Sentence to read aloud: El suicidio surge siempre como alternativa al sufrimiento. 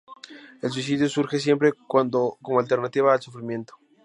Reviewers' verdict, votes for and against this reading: rejected, 0, 2